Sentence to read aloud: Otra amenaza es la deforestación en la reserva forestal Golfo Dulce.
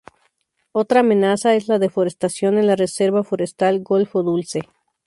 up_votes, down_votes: 2, 0